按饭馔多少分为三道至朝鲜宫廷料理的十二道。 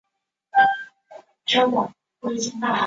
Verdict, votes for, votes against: accepted, 3, 2